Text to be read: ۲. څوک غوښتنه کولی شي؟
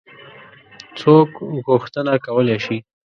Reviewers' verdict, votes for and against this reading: rejected, 0, 2